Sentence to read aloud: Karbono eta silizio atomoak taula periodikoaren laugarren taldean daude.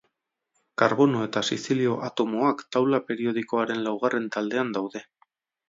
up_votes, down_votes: 0, 2